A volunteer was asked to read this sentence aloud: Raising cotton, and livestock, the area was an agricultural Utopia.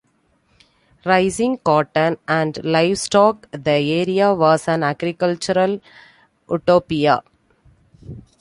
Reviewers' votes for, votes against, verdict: 2, 0, accepted